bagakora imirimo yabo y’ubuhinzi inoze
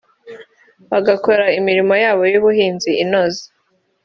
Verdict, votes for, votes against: accepted, 2, 0